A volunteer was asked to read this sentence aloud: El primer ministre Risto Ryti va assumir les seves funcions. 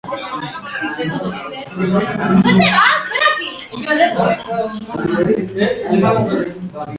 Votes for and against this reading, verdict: 0, 2, rejected